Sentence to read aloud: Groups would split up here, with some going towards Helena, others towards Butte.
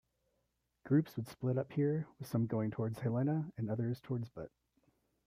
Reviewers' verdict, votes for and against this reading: accepted, 2, 0